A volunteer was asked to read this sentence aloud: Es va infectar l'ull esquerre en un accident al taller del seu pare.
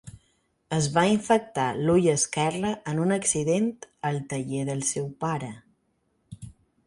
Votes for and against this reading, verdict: 4, 0, accepted